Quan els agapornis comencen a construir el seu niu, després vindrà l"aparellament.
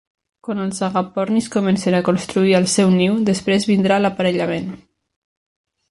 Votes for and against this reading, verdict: 2, 0, accepted